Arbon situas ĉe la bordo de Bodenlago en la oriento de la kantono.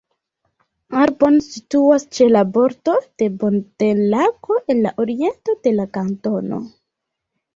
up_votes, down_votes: 1, 2